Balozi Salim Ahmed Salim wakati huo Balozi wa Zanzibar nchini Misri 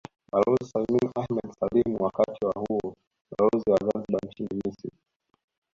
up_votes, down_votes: 1, 3